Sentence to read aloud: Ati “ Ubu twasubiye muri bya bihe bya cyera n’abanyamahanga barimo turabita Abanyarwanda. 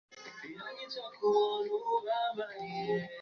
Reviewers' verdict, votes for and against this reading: rejected, 0, 3